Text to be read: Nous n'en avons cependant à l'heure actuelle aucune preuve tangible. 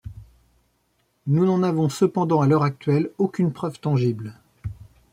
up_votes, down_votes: 2, 0